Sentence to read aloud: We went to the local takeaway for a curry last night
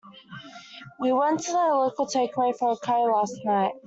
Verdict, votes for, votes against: rejected, 1, 2